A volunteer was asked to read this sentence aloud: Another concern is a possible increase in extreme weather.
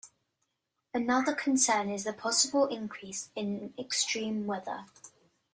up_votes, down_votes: 2, 0